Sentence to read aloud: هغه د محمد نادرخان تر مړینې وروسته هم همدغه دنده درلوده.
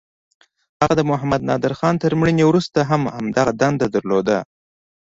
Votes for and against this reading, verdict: 2, 0, accepted